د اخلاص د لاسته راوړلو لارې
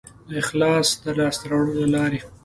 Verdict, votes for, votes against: accepted, 2, 0